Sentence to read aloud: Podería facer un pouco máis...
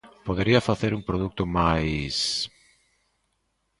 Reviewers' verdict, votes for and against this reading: rejected, 0, 2